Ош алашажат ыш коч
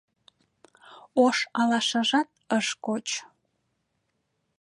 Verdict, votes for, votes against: accepted, 2, 0